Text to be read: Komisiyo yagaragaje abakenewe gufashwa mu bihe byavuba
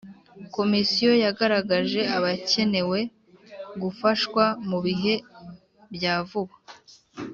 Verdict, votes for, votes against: accepted, 2, 0